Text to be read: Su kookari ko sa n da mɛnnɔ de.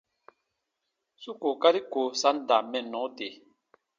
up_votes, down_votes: 2, 0